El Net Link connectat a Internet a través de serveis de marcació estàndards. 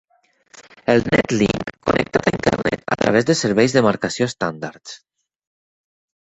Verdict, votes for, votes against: rejected, 2, 4